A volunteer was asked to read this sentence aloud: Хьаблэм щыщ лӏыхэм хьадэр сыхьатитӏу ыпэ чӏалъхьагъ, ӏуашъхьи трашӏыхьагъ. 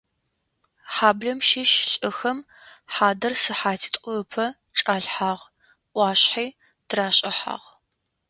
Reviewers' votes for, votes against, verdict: 2, 0, accepted